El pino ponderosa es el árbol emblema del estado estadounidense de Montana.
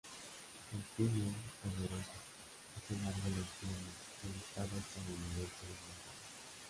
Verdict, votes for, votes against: rejected, 1, 2